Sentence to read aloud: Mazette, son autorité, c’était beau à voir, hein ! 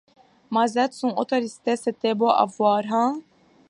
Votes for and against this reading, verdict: 2, 1, accepted